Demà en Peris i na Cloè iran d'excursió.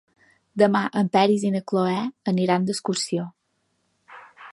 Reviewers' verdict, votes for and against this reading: rejected, 2, 3